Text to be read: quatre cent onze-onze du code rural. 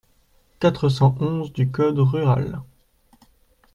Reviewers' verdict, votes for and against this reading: rejected, 0, 2